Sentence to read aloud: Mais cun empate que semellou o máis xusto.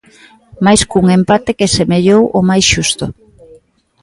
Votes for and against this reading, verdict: 2, 0, accepted